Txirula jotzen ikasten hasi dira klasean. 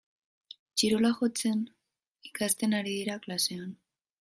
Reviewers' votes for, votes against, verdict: 1, 2, rejected